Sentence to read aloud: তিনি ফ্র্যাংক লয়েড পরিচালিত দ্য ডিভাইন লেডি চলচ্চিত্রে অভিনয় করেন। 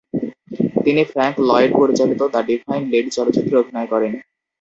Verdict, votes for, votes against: rejected, 0, 2